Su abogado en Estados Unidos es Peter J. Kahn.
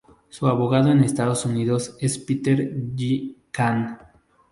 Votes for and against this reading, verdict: 2, 0, accepted